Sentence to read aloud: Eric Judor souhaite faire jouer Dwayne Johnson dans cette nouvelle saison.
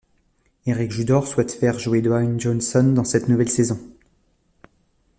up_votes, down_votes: 2, 0